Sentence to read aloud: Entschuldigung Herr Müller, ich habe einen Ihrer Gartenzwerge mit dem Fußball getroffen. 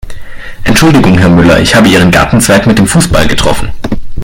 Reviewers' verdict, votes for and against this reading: rejected, 2, 3